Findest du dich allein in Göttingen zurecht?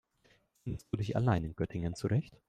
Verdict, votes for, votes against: rejected, 1, 2